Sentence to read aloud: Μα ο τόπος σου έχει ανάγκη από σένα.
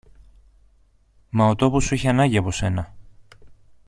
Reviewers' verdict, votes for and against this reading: accepted, 2, 0